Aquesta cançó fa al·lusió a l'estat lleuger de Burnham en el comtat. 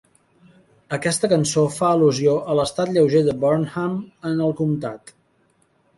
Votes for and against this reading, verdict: 2, 0, accepted